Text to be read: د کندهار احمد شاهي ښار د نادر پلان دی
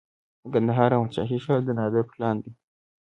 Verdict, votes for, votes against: accepted, 2, 0